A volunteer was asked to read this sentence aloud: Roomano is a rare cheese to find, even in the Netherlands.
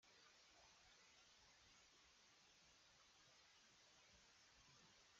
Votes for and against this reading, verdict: 0, 2, rejected